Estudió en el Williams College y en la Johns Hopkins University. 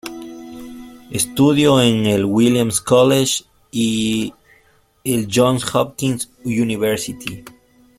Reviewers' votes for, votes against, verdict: 1, 2, rejected